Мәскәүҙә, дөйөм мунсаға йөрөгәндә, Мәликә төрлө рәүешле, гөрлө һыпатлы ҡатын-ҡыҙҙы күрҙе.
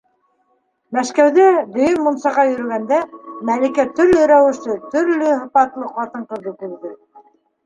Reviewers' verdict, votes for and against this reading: rejected, 0, 2